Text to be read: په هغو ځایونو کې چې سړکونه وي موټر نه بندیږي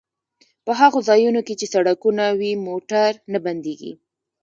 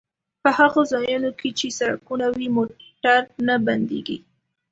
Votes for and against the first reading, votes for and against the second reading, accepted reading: 1, 2, 2, 0, second